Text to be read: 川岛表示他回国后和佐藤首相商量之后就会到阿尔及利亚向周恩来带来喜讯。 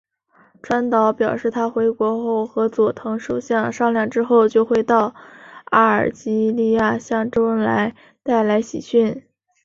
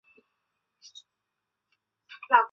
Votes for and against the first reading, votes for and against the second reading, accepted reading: 3, 0, 0, 2, first